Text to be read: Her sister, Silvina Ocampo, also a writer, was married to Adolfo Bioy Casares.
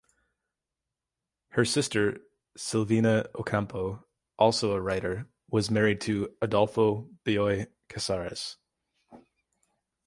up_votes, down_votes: 2, 0